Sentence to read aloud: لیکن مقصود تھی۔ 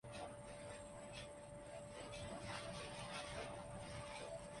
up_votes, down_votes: 0, 2